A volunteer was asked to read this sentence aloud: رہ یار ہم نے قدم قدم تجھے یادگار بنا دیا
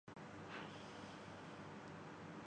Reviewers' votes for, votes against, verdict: 0, 2, rejected